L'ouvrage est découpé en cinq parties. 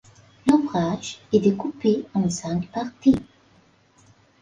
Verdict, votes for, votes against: accepted, 4, 1